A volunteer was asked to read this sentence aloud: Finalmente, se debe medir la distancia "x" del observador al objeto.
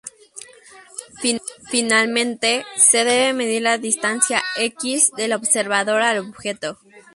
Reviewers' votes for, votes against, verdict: 0, 2, rejected